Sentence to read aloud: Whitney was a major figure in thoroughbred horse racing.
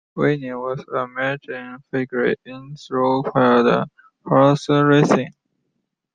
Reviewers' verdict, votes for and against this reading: accepted, 2, 0